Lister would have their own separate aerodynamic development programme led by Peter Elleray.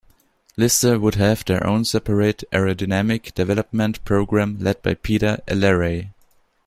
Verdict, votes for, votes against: accepted, 2, 1